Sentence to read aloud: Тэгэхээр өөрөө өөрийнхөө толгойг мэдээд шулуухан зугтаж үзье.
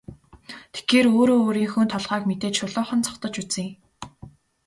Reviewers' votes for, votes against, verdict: 2, 0, accepted